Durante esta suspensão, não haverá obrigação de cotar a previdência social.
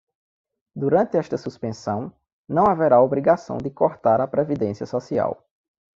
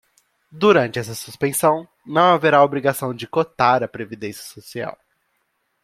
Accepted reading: second